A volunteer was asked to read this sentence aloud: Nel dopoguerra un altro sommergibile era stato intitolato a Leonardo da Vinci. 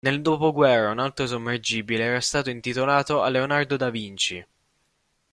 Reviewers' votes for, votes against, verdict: 0, 2, rejected